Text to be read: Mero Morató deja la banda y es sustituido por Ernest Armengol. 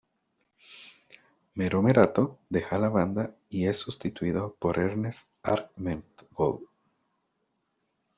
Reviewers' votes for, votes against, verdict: 1, 2, rejected